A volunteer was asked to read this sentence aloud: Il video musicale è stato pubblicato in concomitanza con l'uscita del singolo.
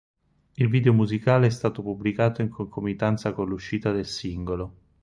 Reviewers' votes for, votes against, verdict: 0, 4, rejected